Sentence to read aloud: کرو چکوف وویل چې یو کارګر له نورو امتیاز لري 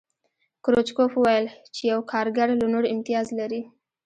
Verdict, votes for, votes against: rejected, 1, 2